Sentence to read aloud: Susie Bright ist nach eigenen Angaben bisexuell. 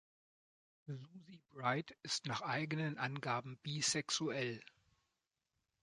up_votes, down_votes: 0, 2